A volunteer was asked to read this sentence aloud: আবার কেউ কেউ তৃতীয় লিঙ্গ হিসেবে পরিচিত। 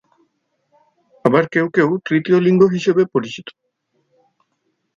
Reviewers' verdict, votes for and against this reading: accepted, 4, 0